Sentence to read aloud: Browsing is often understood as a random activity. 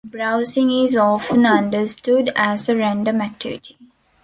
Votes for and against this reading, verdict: 2, 0, accepted